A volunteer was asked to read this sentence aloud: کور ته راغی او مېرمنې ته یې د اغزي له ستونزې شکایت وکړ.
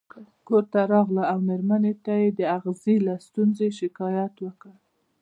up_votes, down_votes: 0, 2